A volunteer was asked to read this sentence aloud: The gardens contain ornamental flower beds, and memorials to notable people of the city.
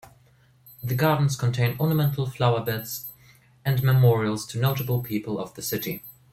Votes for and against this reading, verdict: 1, 2, rejected